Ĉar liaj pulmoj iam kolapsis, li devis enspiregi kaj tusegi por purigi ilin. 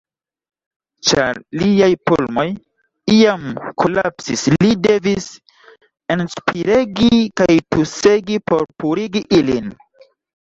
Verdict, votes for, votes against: accepted, 2, 0